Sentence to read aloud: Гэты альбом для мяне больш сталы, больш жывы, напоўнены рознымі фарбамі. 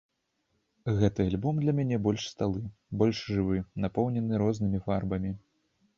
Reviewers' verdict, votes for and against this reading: rejected, 1, 2